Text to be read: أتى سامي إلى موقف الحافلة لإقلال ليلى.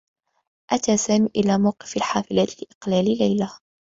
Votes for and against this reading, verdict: 2, 1, accepted